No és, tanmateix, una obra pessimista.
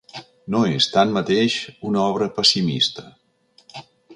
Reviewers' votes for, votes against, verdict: 5, 0, accepted